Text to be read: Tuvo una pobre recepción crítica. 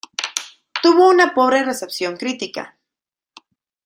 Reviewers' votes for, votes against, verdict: 2, 0, accepted